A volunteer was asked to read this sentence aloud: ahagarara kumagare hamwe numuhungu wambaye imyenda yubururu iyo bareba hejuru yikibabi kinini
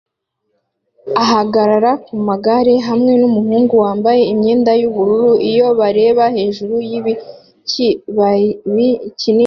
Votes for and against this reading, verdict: 2, 0, accepted